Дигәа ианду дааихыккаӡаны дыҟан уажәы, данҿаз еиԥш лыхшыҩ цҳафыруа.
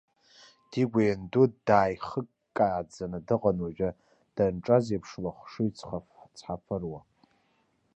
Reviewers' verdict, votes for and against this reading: rejected, 1, 2